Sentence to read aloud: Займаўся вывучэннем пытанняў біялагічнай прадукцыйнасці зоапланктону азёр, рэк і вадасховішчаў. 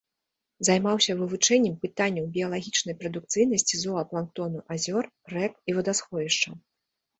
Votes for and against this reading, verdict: 2, 0, accepted